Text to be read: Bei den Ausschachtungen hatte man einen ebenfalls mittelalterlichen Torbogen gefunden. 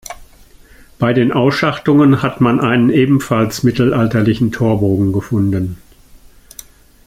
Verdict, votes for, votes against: rejected, 1, 2